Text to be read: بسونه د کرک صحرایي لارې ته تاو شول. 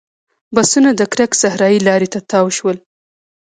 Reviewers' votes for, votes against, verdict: 2, 0, accepted